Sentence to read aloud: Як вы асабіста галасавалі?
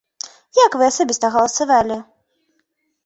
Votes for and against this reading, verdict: 2, 0, accepted